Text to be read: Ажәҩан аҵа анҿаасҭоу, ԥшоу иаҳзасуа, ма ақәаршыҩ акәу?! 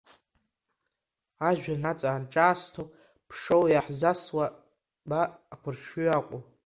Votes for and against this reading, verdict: 0, 2, rejected